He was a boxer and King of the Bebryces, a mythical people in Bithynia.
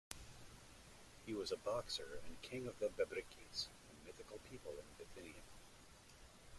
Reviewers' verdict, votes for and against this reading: accepted, 2, 1